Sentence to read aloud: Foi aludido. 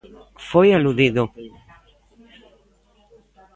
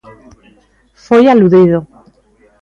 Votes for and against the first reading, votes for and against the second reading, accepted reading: 2, 0, 1, 2, first